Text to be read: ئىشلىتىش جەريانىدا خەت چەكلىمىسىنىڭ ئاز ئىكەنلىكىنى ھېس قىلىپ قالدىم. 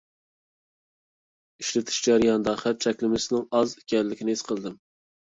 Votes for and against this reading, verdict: 1, 2, rejected